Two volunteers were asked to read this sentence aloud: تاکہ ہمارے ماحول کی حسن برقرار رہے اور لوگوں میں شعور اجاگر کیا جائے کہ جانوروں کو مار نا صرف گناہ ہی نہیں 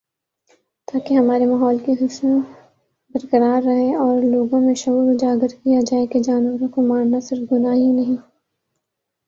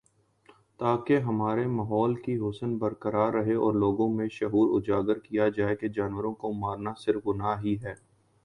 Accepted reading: second